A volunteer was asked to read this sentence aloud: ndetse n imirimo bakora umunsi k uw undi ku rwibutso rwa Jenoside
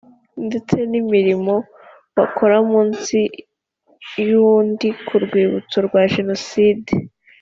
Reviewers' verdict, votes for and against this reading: rejected, 1, 2